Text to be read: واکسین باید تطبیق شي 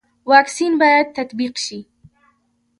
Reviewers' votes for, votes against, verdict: 2, 1, accepted